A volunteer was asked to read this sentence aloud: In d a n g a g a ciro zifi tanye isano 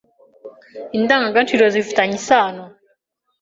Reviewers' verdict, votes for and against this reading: accepted, 2, 0